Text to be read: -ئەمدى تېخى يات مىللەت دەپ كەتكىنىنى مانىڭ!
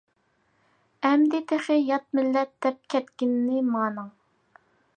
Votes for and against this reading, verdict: 2, 0, accepted